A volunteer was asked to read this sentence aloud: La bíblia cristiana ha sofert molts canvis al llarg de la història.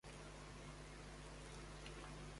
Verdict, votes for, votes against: rejected, 0, 2